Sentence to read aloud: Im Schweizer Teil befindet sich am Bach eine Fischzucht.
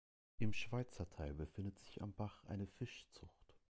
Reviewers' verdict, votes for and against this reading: accepted, 2, 0